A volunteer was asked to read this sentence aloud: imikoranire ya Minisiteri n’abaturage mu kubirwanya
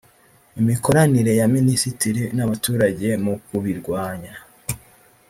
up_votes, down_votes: 1, 2